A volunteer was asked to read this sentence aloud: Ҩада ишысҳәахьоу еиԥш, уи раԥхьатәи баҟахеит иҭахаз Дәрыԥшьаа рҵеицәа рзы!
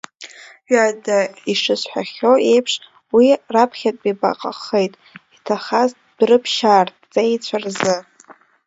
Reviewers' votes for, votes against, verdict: 2, 1, accepted